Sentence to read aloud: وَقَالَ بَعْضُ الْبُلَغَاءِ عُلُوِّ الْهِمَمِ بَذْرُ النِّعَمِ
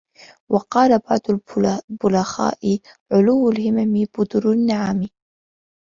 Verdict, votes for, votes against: rejected, 1, 2